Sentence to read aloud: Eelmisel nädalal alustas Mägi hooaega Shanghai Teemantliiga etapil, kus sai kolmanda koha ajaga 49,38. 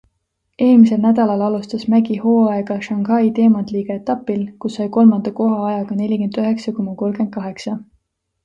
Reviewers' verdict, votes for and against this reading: rejected, 0, 2